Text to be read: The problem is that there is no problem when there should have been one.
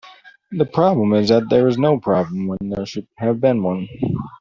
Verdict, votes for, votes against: accepted, 2, 0